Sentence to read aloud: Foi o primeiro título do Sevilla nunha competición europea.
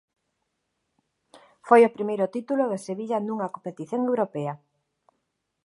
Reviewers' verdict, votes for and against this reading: accepted, 2, 0